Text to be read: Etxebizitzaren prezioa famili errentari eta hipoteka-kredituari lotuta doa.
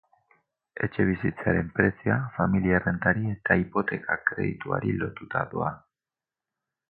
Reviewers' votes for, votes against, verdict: 2, 2, rejected